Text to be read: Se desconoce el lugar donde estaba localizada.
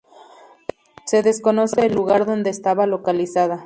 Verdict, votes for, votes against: accepted, 2, 0